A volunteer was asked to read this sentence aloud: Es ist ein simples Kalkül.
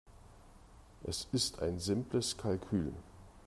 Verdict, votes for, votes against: accepted, 2, 0